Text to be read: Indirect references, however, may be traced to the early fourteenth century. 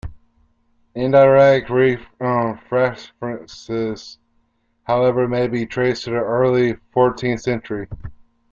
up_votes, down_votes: 0, 2